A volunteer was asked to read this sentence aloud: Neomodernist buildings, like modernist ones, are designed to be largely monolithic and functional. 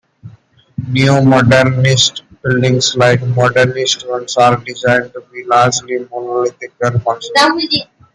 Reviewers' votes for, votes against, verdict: 0, 2, rejected